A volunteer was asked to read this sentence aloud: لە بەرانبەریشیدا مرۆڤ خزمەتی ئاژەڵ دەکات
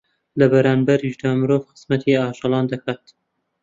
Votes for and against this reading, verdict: 0, 2, rejected